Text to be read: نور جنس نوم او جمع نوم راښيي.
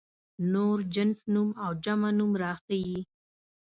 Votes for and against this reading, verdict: 2, 0, accepted